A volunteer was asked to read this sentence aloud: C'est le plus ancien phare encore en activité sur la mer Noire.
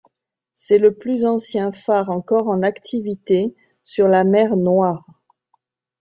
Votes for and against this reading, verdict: 3, 1, accepted